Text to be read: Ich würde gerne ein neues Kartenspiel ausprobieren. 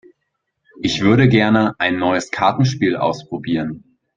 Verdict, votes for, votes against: accepted, 8, 2